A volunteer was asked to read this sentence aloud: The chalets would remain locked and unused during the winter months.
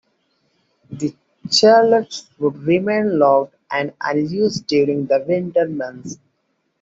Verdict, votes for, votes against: accepted, 2, 1